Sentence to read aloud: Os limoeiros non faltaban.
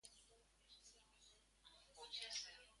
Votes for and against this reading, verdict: 0, 2, rejected